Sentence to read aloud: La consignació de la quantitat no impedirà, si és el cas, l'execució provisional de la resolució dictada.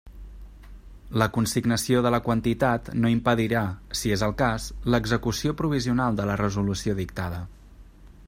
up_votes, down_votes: 2, 0